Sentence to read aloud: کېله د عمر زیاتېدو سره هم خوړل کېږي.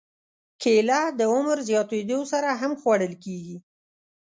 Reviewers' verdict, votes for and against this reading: accepted, 2, 0